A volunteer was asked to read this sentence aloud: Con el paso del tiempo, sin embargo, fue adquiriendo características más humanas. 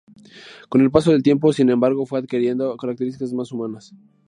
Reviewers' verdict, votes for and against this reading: accepted, 2, 0